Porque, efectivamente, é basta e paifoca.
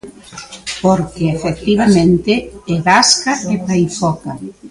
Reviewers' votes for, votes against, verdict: 0, 2, rejected